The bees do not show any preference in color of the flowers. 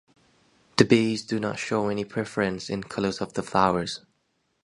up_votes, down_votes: 0, 2